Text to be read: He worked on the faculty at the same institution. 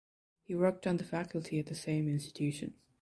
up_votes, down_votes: 2, 0